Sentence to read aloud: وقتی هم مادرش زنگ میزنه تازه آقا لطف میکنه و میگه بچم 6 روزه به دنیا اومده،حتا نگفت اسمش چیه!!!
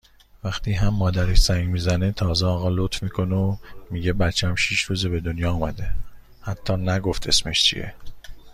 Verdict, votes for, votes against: rejected, 0, 2